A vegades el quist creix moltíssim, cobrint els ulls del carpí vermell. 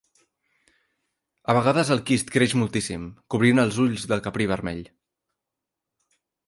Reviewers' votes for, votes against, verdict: 0, 3, rejected